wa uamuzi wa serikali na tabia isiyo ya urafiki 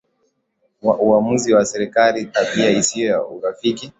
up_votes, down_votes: 5, 5